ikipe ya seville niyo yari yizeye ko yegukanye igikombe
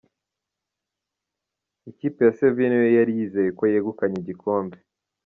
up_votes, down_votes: 0, 2